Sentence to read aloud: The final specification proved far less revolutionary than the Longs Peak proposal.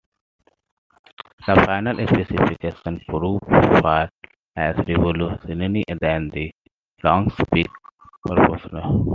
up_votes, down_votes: 1, 2